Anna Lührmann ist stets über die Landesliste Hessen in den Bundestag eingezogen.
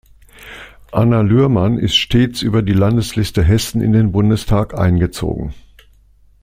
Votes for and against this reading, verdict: 2, 0, accepted